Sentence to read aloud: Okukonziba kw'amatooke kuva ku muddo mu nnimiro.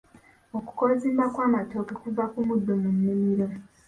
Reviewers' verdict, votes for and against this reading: rejected, 1, 2